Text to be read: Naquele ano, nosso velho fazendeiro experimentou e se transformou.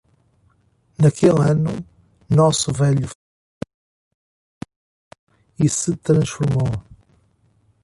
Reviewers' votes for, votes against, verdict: 0, 2, rejected